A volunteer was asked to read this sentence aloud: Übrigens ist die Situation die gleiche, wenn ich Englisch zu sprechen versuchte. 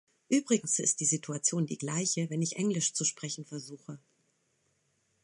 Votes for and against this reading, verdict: 1, 2, rejected